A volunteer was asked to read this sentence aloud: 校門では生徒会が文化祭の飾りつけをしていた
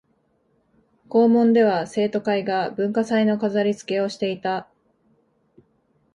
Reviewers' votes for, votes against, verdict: 4, 0, accepted